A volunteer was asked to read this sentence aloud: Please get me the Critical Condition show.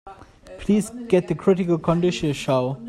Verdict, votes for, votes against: rejected, 0, 2